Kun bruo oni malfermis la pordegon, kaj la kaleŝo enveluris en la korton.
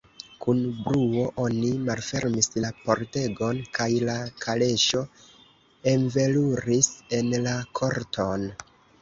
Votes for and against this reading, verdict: 2, 0, accepted